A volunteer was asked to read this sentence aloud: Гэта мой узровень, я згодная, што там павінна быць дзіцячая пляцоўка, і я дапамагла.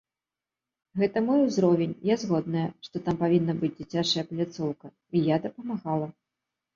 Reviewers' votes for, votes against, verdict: 0, 2, rejected